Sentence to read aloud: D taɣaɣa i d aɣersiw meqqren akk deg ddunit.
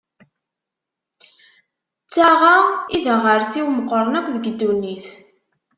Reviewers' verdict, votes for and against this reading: rejected, 1, 2